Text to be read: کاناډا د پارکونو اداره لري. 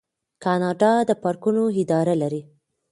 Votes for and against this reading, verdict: 2, 0, accepted